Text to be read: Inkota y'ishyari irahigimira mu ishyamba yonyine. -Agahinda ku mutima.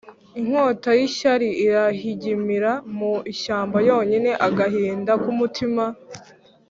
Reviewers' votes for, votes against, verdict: 2, 0, accepted